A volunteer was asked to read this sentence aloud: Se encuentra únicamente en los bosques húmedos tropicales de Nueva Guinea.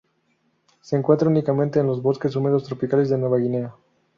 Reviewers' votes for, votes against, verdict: 0, 2, rejected